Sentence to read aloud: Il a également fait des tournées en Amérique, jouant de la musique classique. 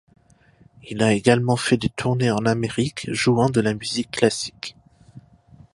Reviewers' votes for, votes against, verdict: 2, 0, accepted